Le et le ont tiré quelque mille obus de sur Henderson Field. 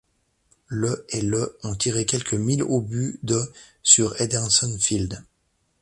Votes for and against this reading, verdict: 2, 0, accepted